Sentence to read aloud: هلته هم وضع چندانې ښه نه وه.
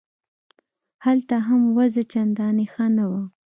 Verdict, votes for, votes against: accepted, 2, 0